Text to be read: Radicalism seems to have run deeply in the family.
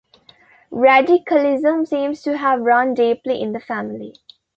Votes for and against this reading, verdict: 3, 2, accepted